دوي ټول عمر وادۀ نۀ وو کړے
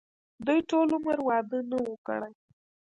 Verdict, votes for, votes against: accepted, 2, 1